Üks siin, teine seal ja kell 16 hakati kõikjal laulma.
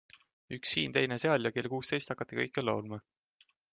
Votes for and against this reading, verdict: 0, 2, rejected